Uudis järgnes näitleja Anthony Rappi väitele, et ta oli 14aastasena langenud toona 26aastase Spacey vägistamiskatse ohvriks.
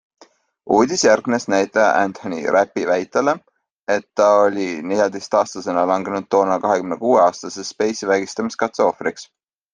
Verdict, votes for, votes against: rejected, 0, 2